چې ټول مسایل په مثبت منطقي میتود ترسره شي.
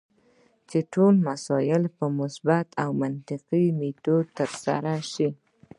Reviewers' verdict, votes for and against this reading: rejected, 0, 2